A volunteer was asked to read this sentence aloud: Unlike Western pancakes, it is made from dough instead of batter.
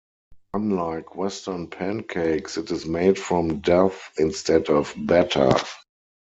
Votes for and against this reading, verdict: 0, 4, rejected